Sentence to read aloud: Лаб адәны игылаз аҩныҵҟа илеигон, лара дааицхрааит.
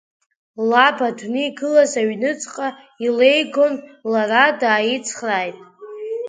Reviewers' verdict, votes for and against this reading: rejected, 0, 2